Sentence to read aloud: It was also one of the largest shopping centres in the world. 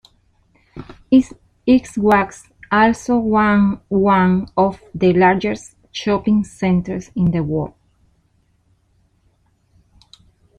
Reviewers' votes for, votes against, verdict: 0, 2, rejected